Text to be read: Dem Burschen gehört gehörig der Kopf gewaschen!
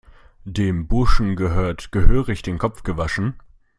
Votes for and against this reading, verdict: 0, 2, rejected